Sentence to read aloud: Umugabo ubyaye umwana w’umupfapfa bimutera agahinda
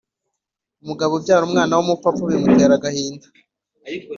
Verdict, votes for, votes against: accepted, 2, 0